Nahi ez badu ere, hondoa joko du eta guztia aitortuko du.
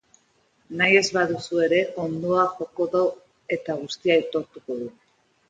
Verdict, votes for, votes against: rejected, 0, 3